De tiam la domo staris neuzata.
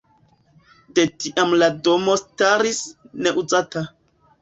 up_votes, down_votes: 2, 0